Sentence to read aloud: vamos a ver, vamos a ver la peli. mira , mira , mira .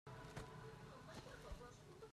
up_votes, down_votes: 0, 2